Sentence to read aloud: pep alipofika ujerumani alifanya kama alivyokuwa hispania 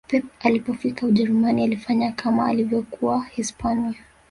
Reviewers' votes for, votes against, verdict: 1, 2, rejected